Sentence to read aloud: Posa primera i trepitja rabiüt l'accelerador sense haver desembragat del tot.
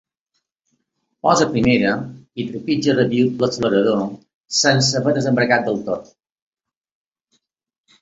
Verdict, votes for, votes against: accepted, 2, 0